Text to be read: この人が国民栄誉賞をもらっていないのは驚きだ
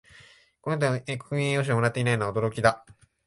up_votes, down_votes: 0, 2